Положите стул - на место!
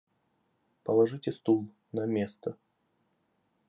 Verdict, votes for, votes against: rejected, 1, 2